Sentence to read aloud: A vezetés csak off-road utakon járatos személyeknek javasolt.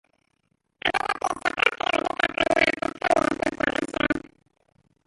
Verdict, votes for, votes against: rejected, 0, 2